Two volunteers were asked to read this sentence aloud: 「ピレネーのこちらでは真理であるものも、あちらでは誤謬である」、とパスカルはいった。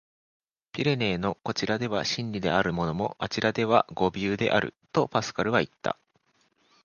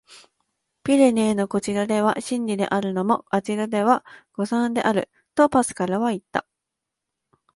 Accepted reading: first